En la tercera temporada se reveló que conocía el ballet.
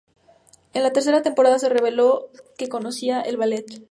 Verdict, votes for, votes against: accepted, 2, 0